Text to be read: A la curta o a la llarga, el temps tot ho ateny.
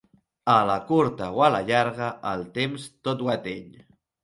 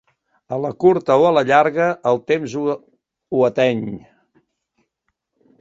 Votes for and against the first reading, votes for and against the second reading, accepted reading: 3, 0, 1, 2, first